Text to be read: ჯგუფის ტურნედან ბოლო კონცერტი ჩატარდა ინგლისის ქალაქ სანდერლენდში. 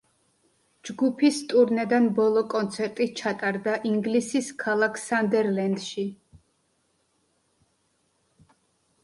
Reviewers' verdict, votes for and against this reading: accepted, 2, 0